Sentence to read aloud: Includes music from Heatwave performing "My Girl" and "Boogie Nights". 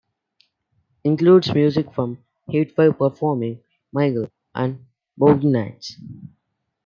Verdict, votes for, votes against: accepted, 2, 1